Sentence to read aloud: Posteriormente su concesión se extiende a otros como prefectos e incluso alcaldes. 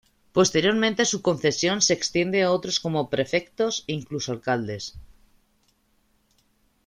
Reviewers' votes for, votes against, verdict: 2, 0, accepted